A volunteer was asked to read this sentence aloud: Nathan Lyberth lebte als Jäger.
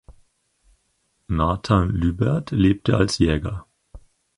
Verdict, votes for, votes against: accepted, 4, 0